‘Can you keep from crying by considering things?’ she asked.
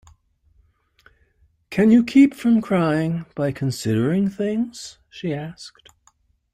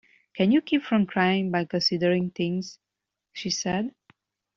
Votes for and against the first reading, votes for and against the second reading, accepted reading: 2, 0, 0, 2, first